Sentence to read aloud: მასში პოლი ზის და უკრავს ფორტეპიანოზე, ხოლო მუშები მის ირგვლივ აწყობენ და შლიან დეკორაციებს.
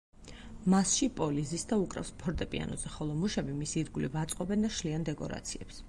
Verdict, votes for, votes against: accepted, 4, 0